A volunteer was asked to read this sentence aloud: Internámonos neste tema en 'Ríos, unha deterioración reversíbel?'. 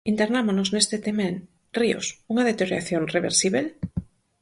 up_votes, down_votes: 4, 0